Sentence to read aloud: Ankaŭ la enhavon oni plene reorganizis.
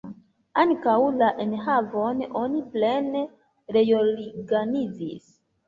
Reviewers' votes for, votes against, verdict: 1, 2, rejected